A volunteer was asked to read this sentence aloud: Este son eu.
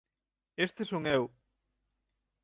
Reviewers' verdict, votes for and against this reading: accepted, 6, 0